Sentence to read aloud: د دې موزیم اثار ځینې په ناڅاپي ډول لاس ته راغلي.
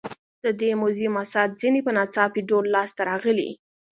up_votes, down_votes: 2, 0